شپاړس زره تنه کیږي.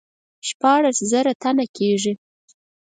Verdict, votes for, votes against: accepted, 4, 0